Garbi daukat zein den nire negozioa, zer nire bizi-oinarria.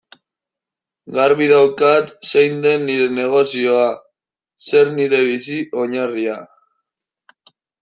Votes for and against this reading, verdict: 2, 0, accepted